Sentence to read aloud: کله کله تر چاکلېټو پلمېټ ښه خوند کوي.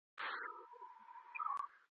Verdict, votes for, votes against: rejected, 0, 2